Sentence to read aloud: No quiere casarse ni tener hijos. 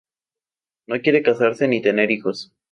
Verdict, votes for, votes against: accepted, 2, 0